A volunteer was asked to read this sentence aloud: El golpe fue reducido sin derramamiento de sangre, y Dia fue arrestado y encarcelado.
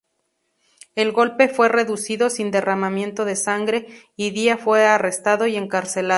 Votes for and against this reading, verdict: 0, 2, rejected